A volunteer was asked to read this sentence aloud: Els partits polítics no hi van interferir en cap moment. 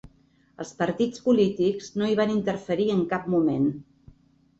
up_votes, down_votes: 3, 0